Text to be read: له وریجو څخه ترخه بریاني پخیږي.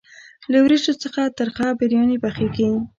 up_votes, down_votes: 1, 2